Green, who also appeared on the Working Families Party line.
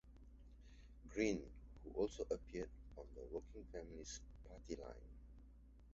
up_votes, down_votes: 2, 0